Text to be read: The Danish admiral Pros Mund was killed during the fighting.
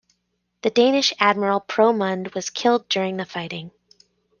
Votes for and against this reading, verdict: 1, 2, rejected